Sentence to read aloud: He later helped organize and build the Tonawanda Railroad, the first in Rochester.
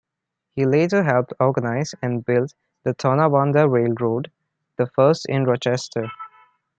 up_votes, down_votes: 2, 0